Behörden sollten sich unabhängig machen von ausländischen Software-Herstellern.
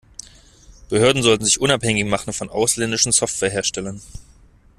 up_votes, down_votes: 2, 0